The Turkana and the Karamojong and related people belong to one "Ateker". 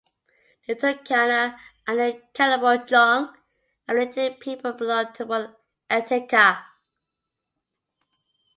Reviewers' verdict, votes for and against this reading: accepted, 2, 1